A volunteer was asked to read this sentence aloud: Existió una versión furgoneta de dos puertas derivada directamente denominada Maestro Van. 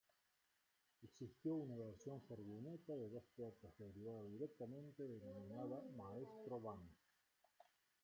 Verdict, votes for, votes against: rejected, 0, 2